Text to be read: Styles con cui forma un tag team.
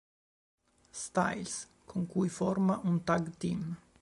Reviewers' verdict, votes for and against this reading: accepted, 2, 0